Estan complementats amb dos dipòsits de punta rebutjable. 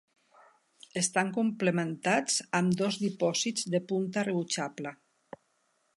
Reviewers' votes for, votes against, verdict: 3, 0, accepted